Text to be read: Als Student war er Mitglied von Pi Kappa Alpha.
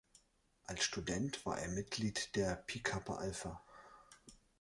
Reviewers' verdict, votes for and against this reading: rejected, 0, 2